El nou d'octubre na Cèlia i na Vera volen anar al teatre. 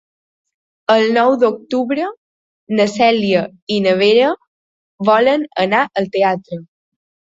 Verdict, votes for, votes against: accepted, 4, 0